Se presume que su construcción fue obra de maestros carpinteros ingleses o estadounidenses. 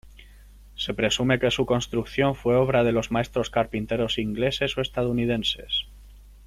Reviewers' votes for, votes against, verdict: 0, 3, rejected